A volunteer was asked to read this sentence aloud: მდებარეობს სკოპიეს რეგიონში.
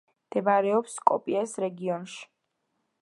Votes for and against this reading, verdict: 1, 2, rejected